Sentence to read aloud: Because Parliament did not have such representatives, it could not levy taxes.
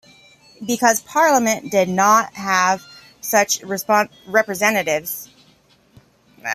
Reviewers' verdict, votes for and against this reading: rejected, 0, 2